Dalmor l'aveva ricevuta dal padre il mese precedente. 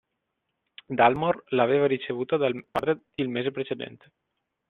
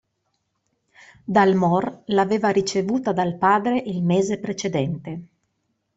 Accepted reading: second